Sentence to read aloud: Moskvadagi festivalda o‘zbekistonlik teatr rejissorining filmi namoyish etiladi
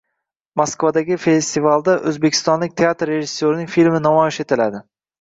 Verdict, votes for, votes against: rejected, 1, 2